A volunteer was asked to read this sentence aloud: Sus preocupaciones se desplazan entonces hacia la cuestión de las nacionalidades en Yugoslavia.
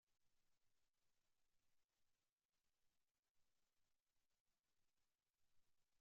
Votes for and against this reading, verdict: 0, 2, rejected